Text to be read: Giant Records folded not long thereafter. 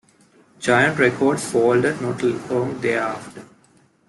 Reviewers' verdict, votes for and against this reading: accepted, 2, 0